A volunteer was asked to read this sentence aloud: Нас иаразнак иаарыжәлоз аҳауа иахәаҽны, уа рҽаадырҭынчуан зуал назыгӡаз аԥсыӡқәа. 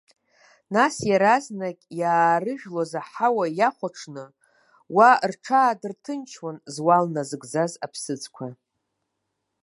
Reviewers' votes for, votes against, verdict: 2, 0, accepted